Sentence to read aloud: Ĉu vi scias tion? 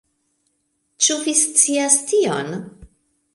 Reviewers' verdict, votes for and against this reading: rejected, 0, 2